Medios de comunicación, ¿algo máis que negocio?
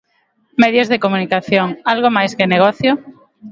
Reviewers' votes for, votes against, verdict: 2, 0, accepted